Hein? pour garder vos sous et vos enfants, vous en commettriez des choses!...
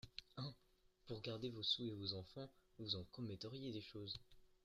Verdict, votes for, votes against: rejected, 0, 2